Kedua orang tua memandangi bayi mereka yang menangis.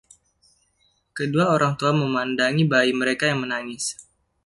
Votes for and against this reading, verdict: 2, 0, accepted